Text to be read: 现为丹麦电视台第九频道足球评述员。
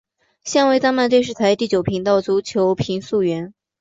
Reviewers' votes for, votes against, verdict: 2, 1, accepted